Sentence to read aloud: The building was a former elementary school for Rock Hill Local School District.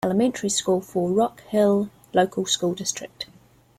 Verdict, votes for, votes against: rejected, 0, 2